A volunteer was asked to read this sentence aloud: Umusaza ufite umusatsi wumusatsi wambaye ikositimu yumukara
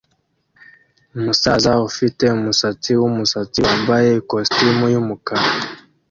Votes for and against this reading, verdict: 2, 0, accepted